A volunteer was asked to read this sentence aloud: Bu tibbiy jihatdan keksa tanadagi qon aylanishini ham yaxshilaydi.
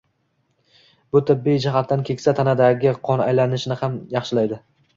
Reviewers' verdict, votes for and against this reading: accepted, 2, 1